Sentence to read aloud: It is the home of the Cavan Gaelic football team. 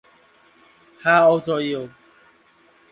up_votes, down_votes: 0, 2